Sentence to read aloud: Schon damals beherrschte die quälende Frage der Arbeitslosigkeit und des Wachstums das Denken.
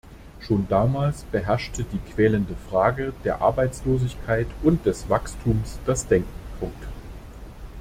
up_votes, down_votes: 1, 2